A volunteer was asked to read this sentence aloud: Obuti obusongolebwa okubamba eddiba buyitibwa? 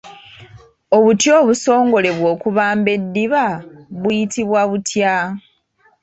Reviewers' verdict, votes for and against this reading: rejected, 0, 2